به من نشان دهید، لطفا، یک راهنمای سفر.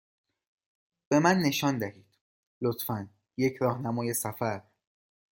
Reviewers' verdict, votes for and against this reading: accepted, 2, 0